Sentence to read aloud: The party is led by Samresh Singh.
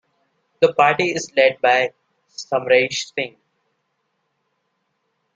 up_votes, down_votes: 2, 0